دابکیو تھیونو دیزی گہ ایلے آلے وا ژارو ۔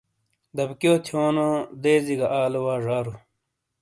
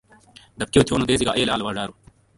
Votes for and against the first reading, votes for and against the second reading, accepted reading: 2, 0, 0, 2, first